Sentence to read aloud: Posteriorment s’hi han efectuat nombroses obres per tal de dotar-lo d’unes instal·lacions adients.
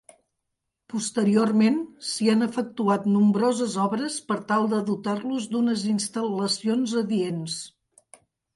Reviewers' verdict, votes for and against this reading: rejected, 0, 3